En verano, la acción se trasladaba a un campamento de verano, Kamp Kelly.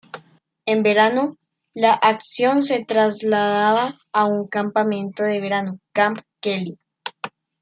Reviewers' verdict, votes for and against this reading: accepted, 2, 0